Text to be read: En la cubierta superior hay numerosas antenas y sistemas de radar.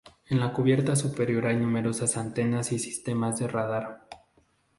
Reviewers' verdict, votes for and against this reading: accepted, 2, 0